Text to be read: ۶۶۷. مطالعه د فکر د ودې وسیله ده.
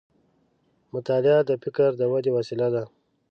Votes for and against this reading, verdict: 0, 2, rejected